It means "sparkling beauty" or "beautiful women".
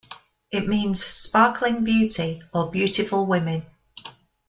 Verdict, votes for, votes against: accepted, 2, 0